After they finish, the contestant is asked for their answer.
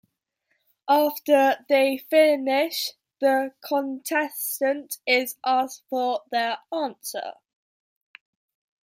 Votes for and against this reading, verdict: 2, 1, accepted